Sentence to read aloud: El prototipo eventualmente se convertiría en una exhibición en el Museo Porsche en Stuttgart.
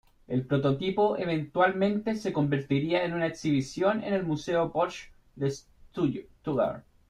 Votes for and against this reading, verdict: 0, 2, rejected